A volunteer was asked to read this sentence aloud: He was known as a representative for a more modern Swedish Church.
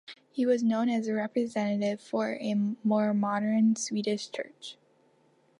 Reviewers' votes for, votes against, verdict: 2, 1, accepted